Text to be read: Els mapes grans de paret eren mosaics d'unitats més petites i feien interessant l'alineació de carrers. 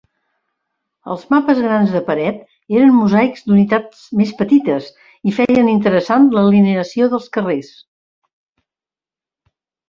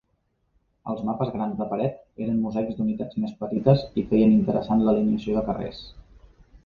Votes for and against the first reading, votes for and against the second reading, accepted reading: 0, 2, 2, 0, second